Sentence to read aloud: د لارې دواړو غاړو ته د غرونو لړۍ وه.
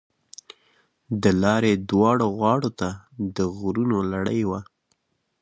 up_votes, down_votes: 2, 0